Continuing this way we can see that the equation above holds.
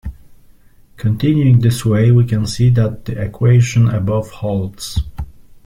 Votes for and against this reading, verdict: 2, 0, accepted